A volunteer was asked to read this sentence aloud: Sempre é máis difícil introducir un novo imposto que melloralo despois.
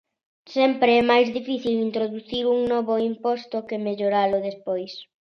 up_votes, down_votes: 2, 0